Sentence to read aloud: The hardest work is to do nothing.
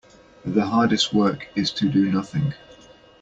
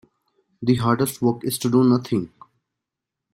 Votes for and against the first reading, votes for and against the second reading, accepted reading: 2, 0, 0, 2, first